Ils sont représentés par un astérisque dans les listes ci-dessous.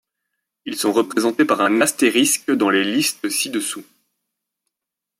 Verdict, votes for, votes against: rejected, 0, 2